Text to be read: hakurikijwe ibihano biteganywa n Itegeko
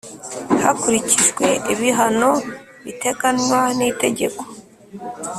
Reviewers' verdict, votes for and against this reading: accepted, 4, 0